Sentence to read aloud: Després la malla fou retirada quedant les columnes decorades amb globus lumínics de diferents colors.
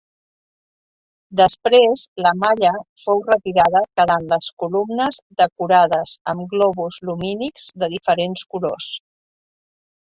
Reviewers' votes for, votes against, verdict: 6, 2, accepted